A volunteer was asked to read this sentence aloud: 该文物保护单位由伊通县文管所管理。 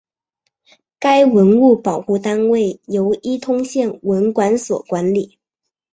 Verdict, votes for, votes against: accepted, 3, 0